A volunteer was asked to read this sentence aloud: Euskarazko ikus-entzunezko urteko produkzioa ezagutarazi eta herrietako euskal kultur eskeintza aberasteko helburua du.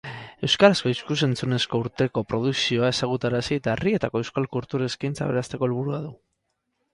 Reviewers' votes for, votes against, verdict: 2, 2, rejected